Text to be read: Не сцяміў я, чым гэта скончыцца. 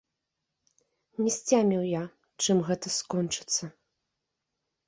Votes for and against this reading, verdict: 2, 0, accepted